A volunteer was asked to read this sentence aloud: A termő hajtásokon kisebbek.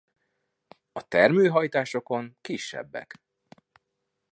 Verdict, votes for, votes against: accepted, 2, 0